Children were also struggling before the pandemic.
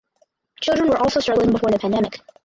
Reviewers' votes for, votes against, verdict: 0, 4, rejected